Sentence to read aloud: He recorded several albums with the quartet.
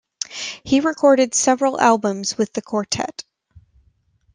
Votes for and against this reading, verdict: 2, 1, accepted